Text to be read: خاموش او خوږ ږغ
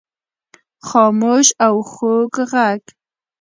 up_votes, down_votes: 1, 2